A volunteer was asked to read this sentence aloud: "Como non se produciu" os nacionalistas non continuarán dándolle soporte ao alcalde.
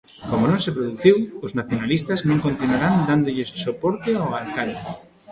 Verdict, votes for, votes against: rejected, 0, 2